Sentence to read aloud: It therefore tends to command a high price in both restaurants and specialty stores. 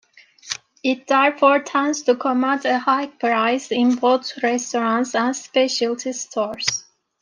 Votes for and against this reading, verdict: 0, 2, rejected